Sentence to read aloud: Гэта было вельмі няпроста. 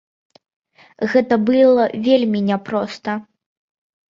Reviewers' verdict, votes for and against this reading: rejected, 1, 2